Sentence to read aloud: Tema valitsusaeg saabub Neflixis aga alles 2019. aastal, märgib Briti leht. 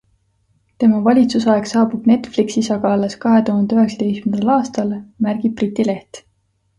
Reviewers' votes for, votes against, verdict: 0, 2, rejected